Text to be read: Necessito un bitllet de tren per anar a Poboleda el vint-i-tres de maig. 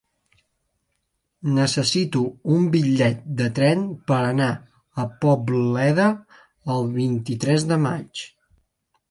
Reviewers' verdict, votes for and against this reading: rejected, 0, 2